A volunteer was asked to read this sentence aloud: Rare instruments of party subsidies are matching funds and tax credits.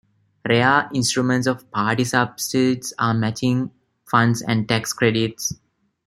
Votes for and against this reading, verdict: 0, 2, rejected